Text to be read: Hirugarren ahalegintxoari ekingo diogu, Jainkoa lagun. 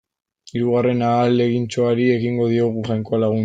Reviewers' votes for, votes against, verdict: 1, 2, rejected